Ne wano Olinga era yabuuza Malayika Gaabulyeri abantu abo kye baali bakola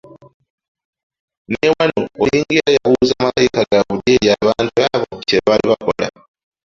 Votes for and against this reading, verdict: 2, 3, rejected